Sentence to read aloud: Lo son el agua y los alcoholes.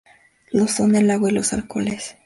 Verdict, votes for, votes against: accepted, 2, 0